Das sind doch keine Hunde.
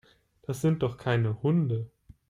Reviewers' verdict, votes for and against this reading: accepted, 2, 0